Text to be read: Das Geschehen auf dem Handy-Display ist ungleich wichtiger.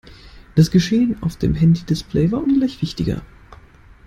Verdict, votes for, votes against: rejected, 1, 2